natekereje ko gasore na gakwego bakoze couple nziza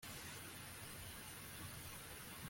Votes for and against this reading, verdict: 0, 2, rejected